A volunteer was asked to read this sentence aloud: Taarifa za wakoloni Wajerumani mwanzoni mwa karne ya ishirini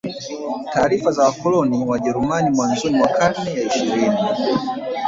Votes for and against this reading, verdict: 1, 2, rejected